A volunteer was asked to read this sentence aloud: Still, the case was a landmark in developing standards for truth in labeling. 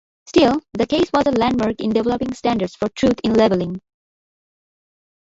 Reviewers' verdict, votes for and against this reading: accepted, 2, 1